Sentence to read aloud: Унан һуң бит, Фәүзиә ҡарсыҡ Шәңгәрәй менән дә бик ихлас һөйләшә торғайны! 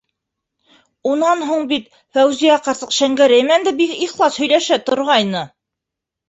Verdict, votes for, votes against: rejected, 1, 2